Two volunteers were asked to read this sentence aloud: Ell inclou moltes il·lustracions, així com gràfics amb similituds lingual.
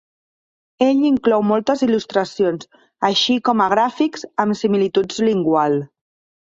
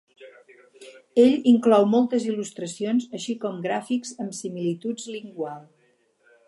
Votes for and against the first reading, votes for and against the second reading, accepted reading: 0, 2, 6, 0, second